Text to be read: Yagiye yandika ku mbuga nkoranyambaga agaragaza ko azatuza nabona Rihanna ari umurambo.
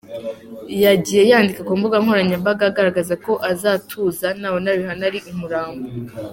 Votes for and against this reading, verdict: 3, 1, accepted